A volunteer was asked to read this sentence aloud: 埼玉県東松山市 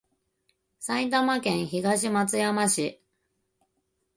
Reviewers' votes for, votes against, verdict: 2, 2, rejected